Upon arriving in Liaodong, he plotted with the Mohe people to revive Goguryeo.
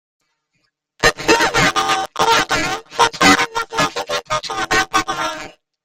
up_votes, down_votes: 0, 2